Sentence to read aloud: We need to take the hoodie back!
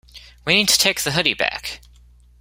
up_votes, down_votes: 2, 0